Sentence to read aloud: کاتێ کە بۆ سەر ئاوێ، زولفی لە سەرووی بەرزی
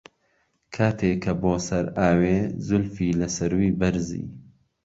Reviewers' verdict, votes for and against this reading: accepted, 2, 0